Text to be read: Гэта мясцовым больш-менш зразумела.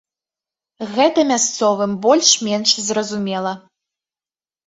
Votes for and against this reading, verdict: 2, 0, accepted